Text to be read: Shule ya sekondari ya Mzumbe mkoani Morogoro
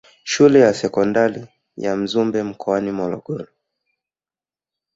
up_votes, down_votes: 2, 0